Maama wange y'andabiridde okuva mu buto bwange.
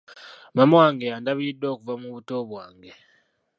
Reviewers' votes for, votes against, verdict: 2, 1, accepted